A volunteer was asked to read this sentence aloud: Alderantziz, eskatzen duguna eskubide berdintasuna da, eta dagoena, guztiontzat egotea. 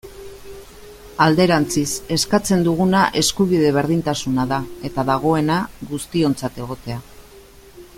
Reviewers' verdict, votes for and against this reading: accepted, 2, 0